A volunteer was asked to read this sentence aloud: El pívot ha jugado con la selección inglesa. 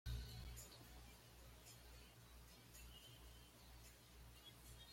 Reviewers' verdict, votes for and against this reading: rejected, 1, 2